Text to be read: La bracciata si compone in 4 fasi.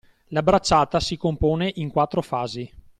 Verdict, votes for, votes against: rejected, 0, 2